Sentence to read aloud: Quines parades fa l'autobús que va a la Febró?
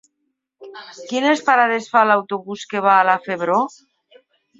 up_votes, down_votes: 3, 0